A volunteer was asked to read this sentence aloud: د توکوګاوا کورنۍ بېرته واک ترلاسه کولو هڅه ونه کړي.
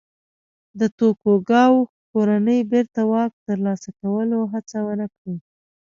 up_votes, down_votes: 2, 0